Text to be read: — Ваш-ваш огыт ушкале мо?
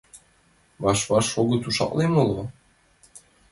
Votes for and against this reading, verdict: 0, 2, rejected